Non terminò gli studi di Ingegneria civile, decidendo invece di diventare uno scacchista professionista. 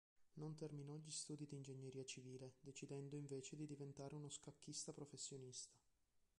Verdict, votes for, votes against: rejected, 2, 3